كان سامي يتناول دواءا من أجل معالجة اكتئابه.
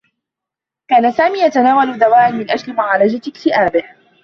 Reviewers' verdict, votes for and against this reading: accepted, 2, 1